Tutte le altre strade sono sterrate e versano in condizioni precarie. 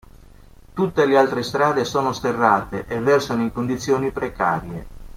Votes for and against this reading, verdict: 2, 0, accepted